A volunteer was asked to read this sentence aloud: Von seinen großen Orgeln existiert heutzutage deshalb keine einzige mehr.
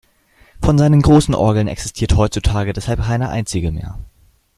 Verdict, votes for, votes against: accepted, 2, 0